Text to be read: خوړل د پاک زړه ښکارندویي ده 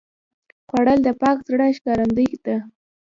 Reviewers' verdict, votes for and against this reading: rejected, 1, 2